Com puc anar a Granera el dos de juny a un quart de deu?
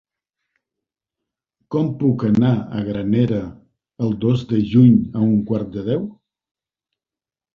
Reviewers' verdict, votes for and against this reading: accepted, 4, 0